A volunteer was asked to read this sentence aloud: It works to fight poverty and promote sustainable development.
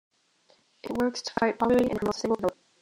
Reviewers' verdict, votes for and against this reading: rejected, 0, 2